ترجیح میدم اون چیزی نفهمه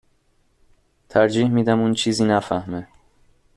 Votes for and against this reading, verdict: 2, 0, accepted